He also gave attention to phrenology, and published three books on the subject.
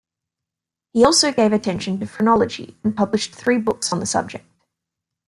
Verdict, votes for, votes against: accepted, 2, 0